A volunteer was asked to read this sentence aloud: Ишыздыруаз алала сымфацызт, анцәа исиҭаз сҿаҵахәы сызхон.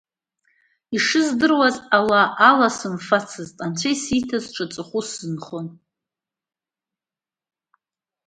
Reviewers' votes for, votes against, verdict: 0, 2, rejected